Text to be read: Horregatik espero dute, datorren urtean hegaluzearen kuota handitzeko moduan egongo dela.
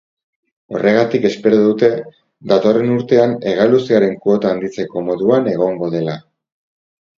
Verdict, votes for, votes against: accepted, 4, 0